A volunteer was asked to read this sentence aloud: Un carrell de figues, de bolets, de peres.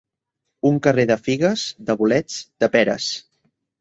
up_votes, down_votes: 0, 2